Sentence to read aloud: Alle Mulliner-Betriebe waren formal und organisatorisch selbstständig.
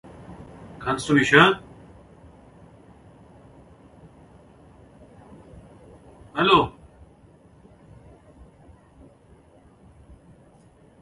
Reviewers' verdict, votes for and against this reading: rejected, 0, 2